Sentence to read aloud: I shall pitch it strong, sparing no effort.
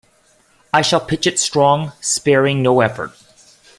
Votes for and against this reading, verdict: 2, 0, accepted